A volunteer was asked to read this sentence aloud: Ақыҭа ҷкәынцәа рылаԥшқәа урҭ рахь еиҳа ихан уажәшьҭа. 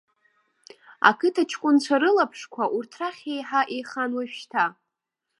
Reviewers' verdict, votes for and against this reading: rejected, 1, 2